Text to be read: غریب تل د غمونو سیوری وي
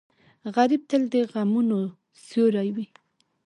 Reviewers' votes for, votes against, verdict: 2, 1, accepted